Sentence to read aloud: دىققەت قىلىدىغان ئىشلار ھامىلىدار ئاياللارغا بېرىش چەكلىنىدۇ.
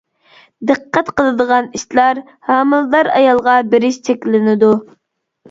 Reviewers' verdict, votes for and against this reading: rejected, 0, 2